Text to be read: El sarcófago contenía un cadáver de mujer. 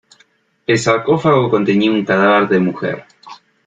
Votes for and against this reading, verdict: 2, 0, accepted